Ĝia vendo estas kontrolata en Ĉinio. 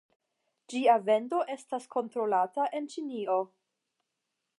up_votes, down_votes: 10, 0